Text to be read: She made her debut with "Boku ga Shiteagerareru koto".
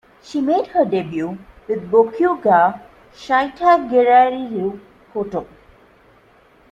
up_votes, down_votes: 2, 1